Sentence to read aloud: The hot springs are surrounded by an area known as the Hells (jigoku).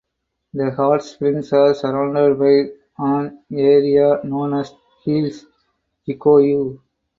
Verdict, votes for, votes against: rejected, 2, 2